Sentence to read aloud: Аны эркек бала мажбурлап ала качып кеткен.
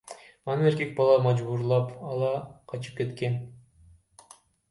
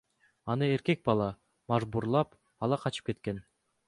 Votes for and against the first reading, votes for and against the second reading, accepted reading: 1, 2, 2, 0, second